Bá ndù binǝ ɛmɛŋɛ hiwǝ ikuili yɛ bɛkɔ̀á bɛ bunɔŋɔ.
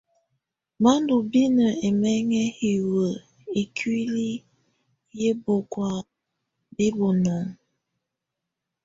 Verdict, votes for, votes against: accepted, 2, 1